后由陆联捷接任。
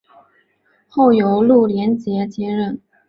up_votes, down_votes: 2, 0